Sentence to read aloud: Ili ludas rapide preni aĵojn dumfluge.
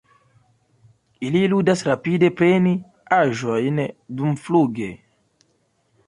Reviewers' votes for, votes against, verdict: 2, 0, accepted